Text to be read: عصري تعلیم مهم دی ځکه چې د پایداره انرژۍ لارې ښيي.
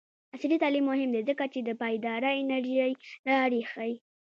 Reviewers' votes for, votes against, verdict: 2, 0, accepted